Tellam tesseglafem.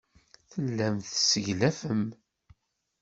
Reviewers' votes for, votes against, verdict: 2, 0, accepted